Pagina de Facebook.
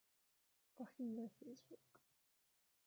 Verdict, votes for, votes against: rejected, 0, 2